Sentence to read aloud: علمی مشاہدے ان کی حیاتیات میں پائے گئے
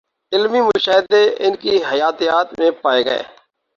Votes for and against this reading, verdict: 2, 0, accepted